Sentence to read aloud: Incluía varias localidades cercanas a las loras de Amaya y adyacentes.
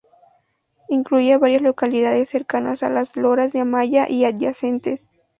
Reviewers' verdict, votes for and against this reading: accepted, 2, 0